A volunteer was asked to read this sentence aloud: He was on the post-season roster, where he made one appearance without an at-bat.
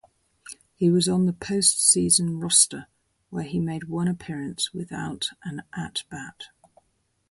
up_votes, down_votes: 4, 0